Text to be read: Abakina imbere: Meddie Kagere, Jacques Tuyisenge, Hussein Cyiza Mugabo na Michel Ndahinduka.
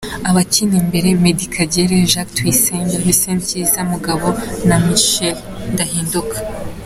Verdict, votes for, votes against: accepted, 2, 0